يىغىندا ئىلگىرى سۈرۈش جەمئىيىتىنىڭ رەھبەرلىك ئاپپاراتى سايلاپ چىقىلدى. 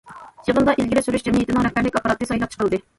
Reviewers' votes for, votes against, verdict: 0, 2, rejected